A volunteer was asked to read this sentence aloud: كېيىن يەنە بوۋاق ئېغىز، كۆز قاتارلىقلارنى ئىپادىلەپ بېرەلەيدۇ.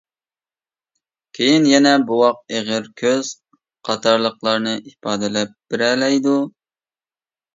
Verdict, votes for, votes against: rejected, 1, 2